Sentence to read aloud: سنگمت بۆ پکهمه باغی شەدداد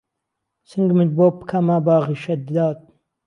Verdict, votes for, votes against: rejected, 0, 2